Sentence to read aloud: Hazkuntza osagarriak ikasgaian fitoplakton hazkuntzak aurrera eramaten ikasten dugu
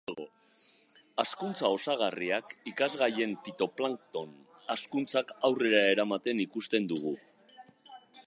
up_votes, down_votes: 0, 2